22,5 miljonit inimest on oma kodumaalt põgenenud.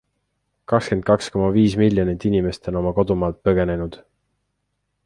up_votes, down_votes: 0, 2